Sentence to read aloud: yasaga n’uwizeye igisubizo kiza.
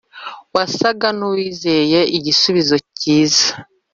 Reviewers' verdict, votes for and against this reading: rejected, 0, 2